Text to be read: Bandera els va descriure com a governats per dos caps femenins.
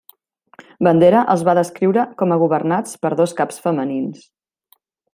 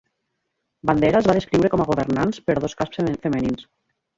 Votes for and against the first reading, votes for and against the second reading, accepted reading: 2, 0, 1, 2, first